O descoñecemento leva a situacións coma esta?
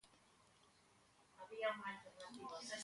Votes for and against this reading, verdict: 0, 2, rejected